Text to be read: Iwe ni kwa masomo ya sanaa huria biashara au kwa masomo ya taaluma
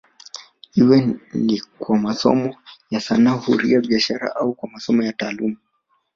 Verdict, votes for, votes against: rejected, 1, 2